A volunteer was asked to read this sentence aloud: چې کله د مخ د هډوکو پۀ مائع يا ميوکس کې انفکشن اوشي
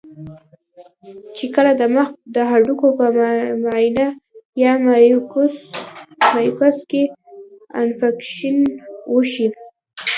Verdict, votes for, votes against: rejected, 1, 2